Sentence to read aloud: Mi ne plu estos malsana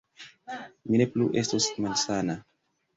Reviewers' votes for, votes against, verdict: 2, 0, accepted